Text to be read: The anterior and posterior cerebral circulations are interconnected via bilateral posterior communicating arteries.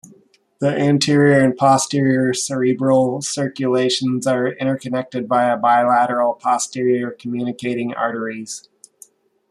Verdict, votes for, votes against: rejected, 0, 2